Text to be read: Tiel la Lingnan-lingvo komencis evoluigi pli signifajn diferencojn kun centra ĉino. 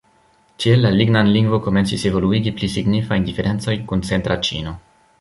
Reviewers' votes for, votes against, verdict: 2, 0, accepted